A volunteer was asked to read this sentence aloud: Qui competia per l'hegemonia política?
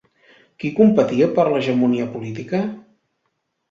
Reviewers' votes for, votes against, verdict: 2, 0, accepted